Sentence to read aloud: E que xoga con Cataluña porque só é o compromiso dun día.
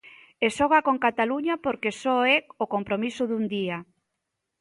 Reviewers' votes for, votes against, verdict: 0, 2, rejected